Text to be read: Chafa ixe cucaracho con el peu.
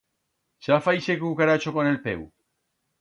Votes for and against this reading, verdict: 2, 0, accepted